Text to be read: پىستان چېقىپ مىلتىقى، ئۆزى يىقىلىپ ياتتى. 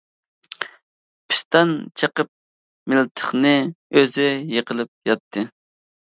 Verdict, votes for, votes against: accepted, 2, 0